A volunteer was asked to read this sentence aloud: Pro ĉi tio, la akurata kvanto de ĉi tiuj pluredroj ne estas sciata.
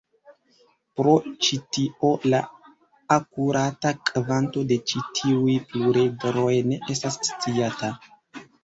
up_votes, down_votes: 1, 2